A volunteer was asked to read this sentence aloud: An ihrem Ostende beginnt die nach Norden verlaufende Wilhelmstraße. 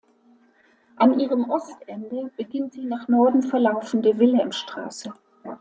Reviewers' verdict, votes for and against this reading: accepted, 2, 0